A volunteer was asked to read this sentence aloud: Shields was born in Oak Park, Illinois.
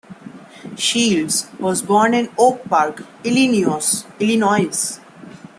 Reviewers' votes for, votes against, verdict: 0, 2, rejected